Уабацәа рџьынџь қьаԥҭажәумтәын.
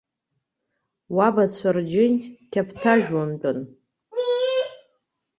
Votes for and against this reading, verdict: 2, 0, accepted